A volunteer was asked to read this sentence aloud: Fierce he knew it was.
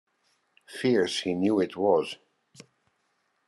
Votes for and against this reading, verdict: 2, 1, accepted